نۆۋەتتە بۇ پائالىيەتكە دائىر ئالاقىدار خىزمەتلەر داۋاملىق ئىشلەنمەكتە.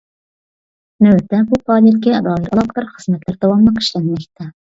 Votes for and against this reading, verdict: 0, 2, rejected